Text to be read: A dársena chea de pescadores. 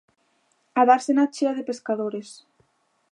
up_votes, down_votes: 2, 0